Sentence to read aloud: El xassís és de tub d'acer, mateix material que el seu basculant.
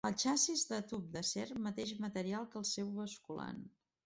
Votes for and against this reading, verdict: 1, 2, rejected